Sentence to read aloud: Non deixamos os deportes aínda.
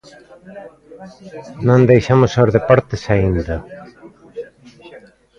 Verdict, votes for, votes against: rejected, 0, 2